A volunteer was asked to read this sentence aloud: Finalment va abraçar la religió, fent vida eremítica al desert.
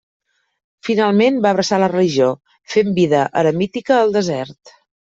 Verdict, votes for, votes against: accepted, 2, 0